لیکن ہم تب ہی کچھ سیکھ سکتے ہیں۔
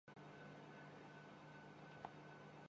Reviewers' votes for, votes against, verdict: 0, 2, rejected